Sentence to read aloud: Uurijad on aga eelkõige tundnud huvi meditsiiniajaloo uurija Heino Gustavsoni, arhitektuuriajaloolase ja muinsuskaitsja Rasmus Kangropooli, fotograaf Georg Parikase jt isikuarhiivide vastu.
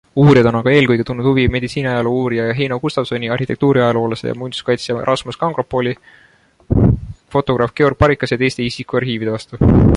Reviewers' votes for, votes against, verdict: 2, 0, accepted